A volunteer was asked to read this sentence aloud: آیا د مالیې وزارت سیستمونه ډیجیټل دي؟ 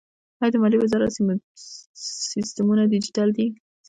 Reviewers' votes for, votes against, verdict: 1, 2, rejected